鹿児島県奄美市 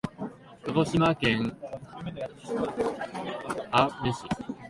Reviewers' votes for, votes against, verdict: 2, 1, accepted